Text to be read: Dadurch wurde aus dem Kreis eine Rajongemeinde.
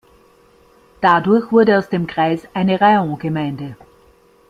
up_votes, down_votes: 1, 2